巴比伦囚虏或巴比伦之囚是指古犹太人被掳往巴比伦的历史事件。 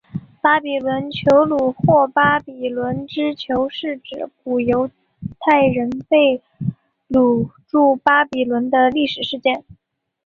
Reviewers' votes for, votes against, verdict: 1, 3, rejected